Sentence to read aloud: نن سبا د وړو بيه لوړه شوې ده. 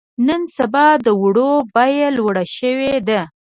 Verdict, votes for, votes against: accepted, 2, 0